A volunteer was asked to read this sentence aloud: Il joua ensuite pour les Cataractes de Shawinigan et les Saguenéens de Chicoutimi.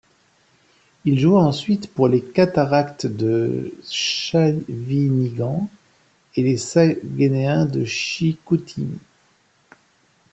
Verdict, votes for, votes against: rejected, 0, 2